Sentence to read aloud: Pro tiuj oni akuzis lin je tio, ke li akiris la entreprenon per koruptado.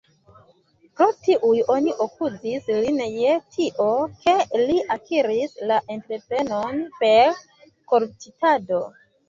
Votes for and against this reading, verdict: 1, 2, rejected